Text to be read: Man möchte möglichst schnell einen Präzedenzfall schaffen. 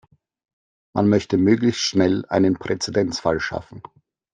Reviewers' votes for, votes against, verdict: 2, 0, accepted